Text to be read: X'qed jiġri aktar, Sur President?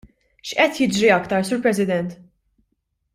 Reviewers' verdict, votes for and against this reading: accepted, 2, 0